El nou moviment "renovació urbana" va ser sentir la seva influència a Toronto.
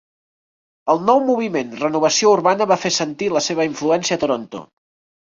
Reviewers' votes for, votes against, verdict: 0, 3, rejected